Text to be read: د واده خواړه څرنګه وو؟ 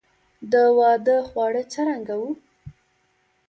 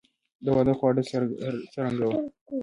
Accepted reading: first